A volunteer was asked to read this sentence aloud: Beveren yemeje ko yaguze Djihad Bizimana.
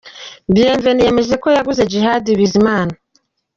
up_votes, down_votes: 1, 2